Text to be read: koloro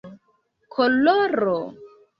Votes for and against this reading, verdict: 1, 2, rejected